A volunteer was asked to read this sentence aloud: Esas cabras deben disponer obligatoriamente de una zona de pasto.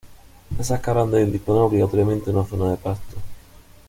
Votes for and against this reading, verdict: 0, 2, rejected